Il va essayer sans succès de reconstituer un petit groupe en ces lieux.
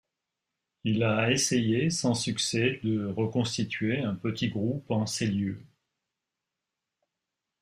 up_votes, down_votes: 0, 2